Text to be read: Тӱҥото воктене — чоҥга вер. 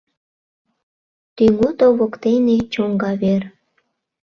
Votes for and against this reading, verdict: 2, 0, accepted